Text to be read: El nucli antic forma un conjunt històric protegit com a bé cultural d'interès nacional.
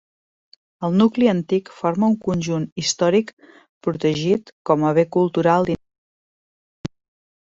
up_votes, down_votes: 0, 2